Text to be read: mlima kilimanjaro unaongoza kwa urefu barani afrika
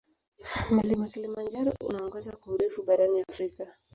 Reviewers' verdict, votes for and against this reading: rejected, 0, 2